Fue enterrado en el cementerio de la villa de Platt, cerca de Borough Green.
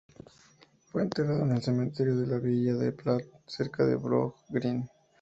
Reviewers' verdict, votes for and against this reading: accepted, 2, 0